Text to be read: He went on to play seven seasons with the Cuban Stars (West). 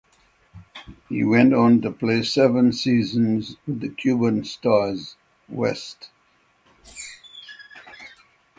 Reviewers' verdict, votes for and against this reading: accepted, 6, 0